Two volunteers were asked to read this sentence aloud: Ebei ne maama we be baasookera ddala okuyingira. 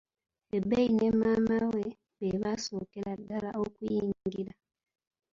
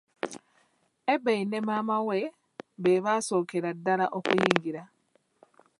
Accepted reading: second